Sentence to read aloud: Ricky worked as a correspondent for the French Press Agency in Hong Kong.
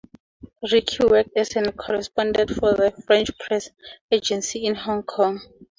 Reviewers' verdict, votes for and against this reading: accepted, 4, 2